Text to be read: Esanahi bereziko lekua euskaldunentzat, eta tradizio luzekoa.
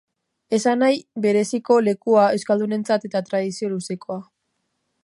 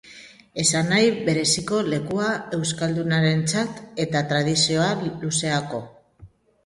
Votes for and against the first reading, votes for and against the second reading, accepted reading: 3, 1, 0, 3, first